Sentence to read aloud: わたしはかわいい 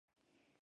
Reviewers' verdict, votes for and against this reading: rejected, 0, 2